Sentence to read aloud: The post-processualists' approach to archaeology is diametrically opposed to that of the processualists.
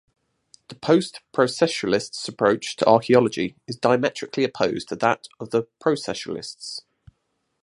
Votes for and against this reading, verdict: 0, 2, rejected